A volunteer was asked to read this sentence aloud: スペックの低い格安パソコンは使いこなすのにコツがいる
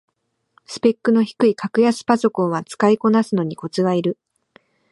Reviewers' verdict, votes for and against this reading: accepted, 3, 0